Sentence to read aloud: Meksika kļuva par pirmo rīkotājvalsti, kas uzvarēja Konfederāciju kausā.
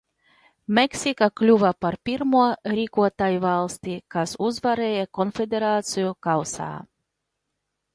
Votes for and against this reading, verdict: 2, 0, accepted